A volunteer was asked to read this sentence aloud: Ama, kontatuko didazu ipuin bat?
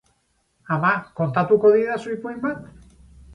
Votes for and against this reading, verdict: 8, 0, accepted